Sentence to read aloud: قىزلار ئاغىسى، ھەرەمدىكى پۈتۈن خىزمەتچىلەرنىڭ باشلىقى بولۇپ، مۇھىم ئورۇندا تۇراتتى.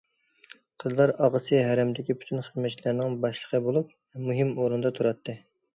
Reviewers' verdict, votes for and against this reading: accepted, 2, 0